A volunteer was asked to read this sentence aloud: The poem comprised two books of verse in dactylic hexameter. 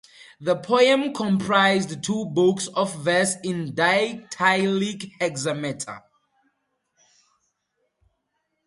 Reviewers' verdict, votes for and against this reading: accepted, 4, 0